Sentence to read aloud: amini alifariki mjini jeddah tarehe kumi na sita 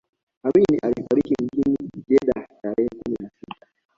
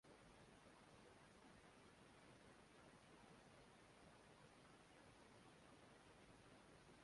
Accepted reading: first